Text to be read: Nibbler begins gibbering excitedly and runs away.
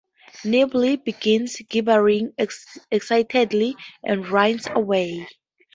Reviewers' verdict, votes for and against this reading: rejected, 0, 4